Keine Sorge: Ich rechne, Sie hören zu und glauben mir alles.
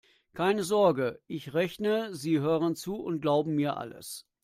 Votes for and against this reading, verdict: 2, 0, accepted